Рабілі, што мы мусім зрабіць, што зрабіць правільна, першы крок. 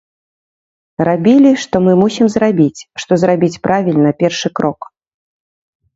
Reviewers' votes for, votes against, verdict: 2, 0, accepted